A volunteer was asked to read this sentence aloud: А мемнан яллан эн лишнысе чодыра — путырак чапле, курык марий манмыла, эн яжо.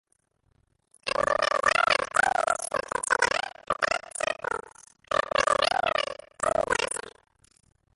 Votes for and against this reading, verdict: 0, 2, rejected